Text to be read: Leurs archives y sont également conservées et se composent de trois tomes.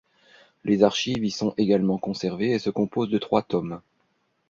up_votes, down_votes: 1, 2